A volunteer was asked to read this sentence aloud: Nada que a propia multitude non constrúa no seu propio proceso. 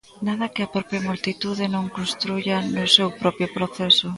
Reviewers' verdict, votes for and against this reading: rejected, 0, 2